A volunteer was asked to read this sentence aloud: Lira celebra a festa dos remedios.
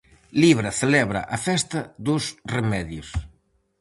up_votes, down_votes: 0, 4